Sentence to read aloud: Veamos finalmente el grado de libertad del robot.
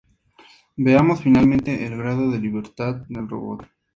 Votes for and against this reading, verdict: 2, 0, accepted